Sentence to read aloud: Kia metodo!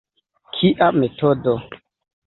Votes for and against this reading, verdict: 0, 2, rejected